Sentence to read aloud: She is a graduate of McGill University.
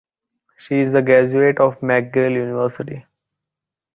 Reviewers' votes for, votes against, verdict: 1, 2, rejected